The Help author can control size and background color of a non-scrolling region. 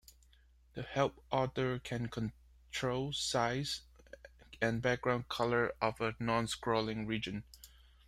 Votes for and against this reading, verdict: 2, 1, accepted